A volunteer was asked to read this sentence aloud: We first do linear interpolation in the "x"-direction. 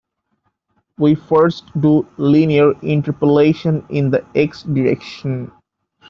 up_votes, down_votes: 2, 1